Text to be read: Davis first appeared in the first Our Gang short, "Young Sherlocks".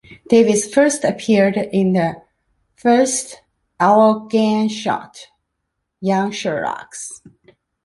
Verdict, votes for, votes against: accepted, 2, 0